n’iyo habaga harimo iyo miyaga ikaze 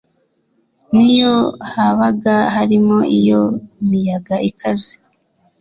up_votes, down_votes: 2, 0